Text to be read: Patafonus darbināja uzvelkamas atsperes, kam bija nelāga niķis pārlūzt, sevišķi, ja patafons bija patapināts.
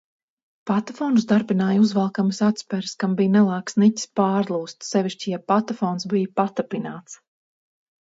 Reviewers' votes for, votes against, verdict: 2, 2, rejected